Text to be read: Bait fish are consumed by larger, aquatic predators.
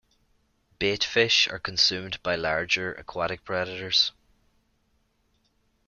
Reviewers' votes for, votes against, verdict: 2, 0, accepted